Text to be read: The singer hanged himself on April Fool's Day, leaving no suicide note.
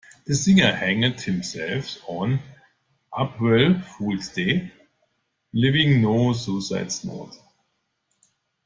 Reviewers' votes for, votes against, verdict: 0, 2, rejected